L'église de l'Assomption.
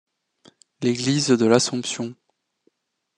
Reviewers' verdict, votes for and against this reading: accepted, 2, 0